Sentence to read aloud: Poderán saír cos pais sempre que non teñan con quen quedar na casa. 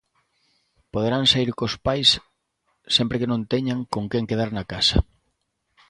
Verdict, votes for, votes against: accepted, 2, 0